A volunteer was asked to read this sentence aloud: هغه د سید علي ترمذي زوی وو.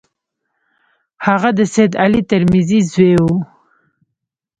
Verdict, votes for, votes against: rejected, 0, 2